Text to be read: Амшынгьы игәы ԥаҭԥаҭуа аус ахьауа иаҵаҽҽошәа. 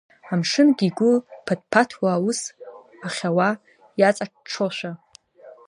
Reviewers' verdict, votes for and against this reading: accepted, 2, 1